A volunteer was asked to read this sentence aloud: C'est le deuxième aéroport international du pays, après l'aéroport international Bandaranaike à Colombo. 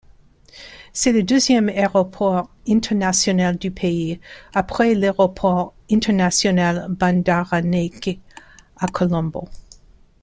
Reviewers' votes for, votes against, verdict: 1, 2, rejected